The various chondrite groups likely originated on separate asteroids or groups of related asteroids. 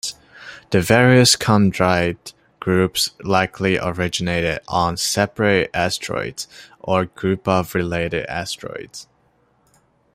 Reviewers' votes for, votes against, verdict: 2, 1, accepted